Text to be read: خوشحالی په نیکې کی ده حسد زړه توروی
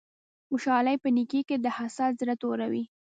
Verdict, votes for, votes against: rejected, 1, 2